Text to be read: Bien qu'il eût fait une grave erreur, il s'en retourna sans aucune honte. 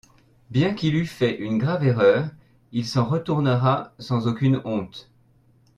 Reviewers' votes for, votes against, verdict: 1, 2, rejected